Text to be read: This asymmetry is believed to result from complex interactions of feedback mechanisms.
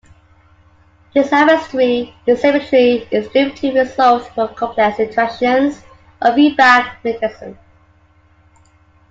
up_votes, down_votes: 1, 2